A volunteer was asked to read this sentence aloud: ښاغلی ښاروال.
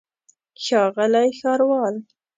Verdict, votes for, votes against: accepted, 2, 0